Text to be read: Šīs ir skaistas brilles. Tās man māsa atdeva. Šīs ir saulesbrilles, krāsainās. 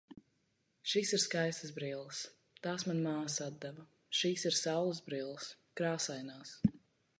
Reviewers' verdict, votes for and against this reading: accepted, 2, 0